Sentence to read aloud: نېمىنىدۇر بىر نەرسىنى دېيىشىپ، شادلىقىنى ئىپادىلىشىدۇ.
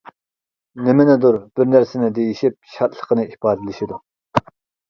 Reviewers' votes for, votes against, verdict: 2, 0, accepted